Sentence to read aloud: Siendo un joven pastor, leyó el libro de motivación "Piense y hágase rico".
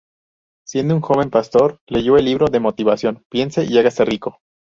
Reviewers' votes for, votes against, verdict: 0, 2, rejected